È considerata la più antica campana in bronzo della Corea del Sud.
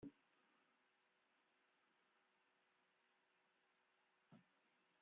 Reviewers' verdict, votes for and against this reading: rejected, 0, 2